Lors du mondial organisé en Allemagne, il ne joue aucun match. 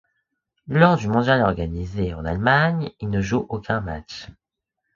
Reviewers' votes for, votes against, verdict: 2, 0, accepted